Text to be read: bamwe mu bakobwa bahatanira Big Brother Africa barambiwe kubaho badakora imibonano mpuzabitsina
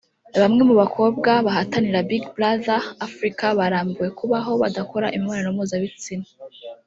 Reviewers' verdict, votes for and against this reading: accepted, 2, 0